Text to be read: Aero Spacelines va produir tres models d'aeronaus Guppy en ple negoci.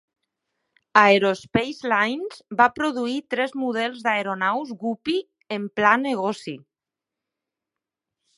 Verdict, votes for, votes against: rejected, 0, 2